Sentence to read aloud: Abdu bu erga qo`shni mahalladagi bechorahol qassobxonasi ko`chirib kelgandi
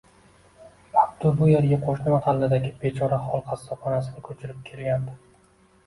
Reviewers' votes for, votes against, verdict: 2, 1, accepted